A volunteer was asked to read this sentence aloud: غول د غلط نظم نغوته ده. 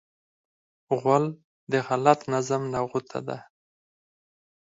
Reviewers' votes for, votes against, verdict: 2, 4, rejected